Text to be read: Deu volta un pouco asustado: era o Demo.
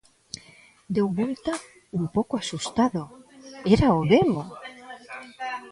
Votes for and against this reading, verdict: 1, 2, rejected